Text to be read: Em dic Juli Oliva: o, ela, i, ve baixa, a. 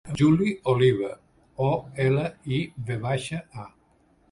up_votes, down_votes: 1, 2